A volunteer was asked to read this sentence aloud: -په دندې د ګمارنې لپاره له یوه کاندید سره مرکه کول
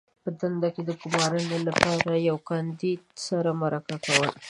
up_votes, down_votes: 1, 2